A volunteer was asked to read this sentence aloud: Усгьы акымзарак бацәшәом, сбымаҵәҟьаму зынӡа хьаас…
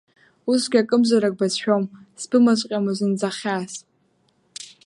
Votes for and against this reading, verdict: 1, 2, rejected